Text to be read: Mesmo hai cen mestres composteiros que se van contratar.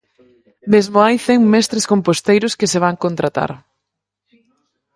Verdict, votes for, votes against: rejected, 2, 4